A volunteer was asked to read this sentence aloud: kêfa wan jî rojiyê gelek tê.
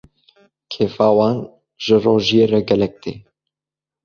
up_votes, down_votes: 2, 1